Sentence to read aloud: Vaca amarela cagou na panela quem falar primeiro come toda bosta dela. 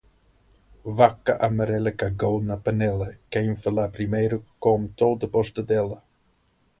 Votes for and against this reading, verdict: 0, 2, rejected